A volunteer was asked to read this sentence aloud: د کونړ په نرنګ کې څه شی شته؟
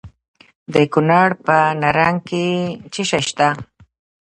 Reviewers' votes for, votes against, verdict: 1, 2, rejected